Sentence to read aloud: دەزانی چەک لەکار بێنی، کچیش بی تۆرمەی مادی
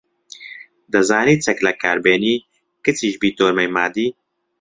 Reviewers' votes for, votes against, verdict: 1, 3, rejected